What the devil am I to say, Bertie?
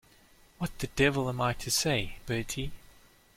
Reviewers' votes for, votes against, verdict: 2, 0, accepted